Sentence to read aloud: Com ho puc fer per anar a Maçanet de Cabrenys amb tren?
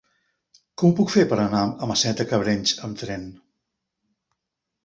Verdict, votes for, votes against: rejected, 0, 2